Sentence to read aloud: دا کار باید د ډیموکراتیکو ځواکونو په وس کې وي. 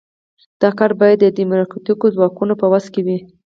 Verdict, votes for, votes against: accepted, 4, 0